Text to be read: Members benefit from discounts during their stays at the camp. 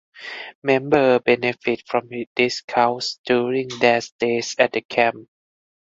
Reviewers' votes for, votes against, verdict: 0, 4, rejected